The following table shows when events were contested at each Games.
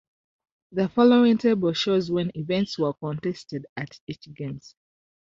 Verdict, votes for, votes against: accepted, 2, 0